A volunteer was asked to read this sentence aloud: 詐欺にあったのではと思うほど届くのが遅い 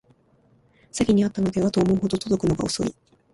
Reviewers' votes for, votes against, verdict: 1, 2, rejected